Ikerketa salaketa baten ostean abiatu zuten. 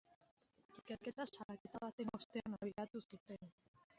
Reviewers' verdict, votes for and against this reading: rejected, 0, 2